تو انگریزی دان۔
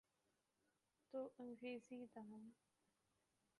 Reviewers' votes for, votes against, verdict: 0, 2, rejected